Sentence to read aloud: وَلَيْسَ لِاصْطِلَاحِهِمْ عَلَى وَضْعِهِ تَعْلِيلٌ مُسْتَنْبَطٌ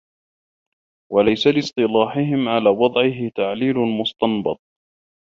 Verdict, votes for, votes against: rejected, 1, 2